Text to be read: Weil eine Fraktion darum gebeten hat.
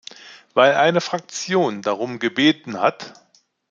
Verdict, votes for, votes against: accepted, 2, 0